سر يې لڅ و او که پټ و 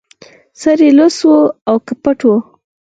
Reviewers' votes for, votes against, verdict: 4, 2, accepted